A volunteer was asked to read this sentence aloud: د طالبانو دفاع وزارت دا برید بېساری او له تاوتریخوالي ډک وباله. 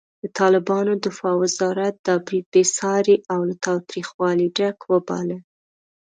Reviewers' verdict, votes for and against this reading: accepted, 2, 0